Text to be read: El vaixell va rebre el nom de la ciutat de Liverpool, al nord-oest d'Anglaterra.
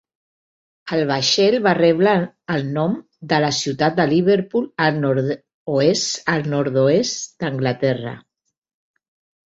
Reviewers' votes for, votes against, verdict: 0, 2, rejected